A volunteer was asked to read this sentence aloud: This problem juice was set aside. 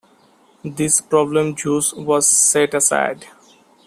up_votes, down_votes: 2, 0